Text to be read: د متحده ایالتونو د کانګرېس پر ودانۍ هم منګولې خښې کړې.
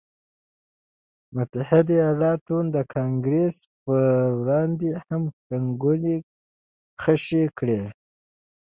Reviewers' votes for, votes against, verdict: 2, 0, accepted